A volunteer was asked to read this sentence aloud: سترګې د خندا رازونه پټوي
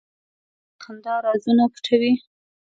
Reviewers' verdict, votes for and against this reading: rejected, 1, 2